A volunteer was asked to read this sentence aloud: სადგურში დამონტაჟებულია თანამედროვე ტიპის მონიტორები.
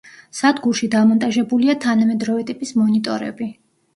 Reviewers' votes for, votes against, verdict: 2, 0, accepted